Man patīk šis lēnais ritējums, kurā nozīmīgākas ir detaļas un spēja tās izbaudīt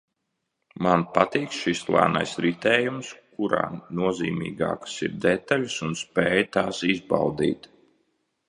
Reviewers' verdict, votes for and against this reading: accepted, 2, 0